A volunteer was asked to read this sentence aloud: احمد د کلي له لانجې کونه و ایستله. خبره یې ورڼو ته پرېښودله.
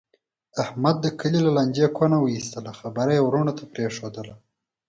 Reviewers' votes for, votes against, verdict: 4, 0, accepted